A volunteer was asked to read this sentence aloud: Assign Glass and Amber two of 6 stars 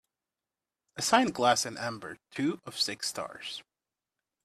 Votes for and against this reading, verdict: 0, 2, rejected